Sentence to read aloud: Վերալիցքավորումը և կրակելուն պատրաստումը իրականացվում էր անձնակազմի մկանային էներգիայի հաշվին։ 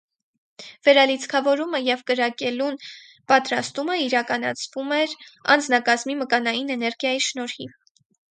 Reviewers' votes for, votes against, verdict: 0, 4, rejected